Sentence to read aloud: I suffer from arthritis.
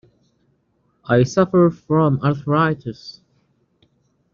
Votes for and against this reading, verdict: 2, 0, accepted